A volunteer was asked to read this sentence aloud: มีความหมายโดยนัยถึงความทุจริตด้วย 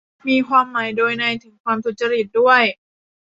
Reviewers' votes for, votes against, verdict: 1, 2, rejected